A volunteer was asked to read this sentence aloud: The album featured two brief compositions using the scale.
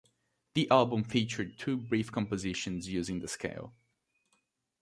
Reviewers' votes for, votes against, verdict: 2, 0, accepted